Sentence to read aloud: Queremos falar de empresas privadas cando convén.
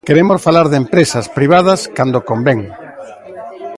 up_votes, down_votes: 0, 2